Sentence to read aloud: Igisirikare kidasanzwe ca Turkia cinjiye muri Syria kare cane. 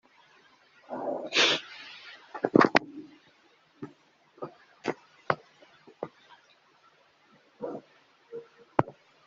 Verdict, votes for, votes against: rejected, 0, 2